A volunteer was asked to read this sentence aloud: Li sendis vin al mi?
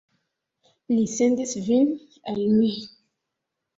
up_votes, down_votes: 0, 2